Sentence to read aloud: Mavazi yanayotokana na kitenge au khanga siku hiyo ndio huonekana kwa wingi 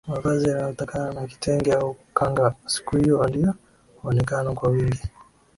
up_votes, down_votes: 2, 0